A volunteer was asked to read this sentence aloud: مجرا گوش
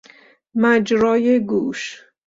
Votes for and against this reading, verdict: 1, 3, rejected